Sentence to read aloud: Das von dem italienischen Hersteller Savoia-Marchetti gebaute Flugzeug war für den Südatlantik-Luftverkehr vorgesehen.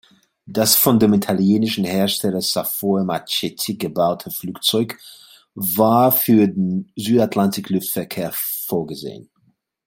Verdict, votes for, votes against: accepted, 2, 1